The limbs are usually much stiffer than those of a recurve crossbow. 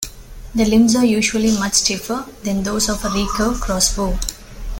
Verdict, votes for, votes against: accepted, 2, 0